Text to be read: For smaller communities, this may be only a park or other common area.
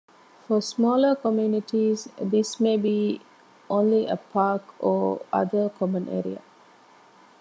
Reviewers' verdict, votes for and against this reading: rejected, 1, 2